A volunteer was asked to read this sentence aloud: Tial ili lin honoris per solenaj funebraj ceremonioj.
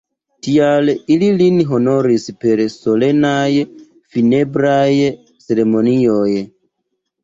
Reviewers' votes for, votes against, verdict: 2, 0, accepted